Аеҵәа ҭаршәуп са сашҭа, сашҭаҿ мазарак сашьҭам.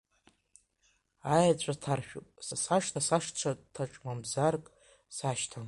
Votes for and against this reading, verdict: 2, 0, accepted